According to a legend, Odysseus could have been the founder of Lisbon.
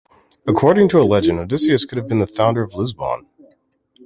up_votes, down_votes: 2, 0